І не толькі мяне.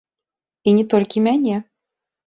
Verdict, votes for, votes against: rejected, 1, 2